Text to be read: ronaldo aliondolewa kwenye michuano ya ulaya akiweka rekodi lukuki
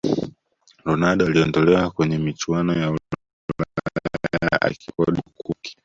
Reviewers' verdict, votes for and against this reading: rejected, 0, 2